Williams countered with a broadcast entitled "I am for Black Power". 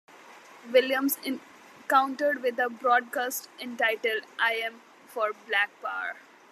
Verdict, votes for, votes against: rejected, 1, 2